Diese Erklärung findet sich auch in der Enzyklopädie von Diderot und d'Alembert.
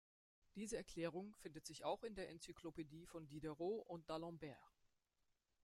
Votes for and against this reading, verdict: 1, 2, rejected